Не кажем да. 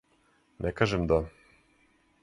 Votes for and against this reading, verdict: 4, 0, accepted